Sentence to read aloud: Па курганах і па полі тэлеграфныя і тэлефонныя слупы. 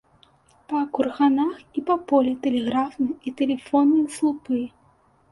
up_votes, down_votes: 2, 1